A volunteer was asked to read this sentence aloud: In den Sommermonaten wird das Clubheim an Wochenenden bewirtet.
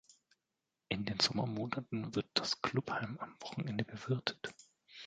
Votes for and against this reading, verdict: 2, 0, accepted